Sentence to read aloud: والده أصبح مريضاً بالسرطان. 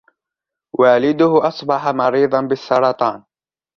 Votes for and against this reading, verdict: 2, 0, accepted